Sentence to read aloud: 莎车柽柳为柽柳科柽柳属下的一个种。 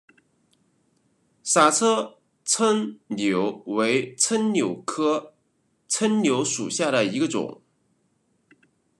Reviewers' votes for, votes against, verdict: 2, 1, accepted